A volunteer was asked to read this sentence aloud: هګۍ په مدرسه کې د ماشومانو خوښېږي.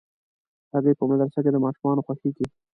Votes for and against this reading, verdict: 2, 0, accepted